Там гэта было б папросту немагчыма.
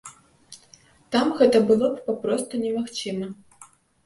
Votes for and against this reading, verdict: 2, 0, accepted